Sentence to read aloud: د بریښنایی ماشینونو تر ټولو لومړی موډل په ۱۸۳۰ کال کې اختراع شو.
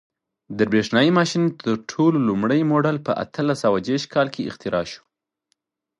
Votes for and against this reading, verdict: 0, 2, rejected